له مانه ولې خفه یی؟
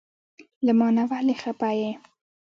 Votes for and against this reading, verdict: 0, 2, rejected